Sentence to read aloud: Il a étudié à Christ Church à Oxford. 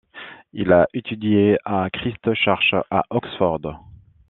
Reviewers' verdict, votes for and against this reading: rejected, 0, 2